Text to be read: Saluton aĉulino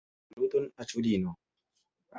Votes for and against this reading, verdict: 0, 2, rejected